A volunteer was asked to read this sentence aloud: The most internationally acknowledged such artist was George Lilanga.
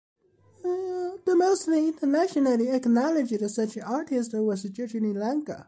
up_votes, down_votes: 0, 2